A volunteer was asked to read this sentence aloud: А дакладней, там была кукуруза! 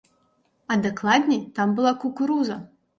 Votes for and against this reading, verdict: 3, 0, accepted